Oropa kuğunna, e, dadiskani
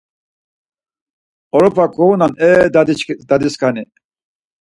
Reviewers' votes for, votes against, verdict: 2, 4, rejected